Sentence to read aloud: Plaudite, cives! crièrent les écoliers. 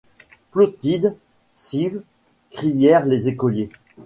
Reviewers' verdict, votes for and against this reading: rejected, 1, 2